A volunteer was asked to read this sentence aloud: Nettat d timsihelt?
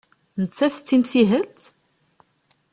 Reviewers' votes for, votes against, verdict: 2, 0, accepted